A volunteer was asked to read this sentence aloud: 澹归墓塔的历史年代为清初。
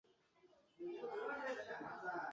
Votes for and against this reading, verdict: 0, 5, rejected